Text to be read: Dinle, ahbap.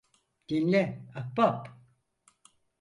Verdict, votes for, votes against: accepted, 4, 0